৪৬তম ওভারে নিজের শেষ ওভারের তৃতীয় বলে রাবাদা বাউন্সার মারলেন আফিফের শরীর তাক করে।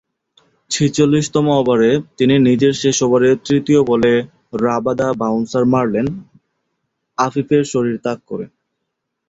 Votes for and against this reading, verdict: 0, 2, rejected